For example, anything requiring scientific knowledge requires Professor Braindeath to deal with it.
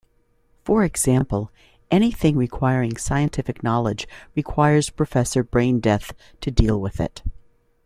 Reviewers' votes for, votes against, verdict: 2, 0, accepted